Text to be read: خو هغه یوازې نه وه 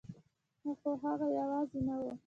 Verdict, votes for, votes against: rejected, 0, 2